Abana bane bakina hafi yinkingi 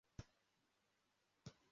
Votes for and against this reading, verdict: 0, 2, rejected